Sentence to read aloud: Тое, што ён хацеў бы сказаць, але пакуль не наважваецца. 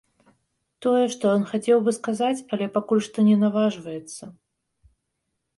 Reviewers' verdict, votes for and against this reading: rejected, 1, 2